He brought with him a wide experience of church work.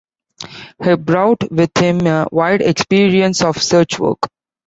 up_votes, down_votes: 0, 2